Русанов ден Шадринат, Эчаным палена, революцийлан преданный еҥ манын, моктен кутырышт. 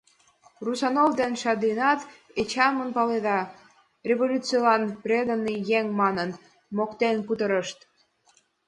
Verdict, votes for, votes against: accepted, 2, 1